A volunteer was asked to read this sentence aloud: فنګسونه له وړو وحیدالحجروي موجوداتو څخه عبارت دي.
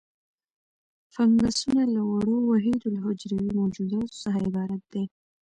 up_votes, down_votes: 3, 0